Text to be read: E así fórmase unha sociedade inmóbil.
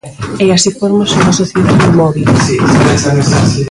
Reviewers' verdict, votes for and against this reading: rejected, 0, 2